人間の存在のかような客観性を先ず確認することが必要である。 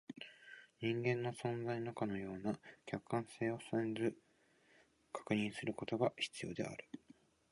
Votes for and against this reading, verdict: 0, 2, rejected